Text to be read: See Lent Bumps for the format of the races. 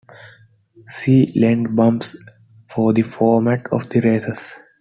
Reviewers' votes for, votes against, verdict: 2, 0, accepted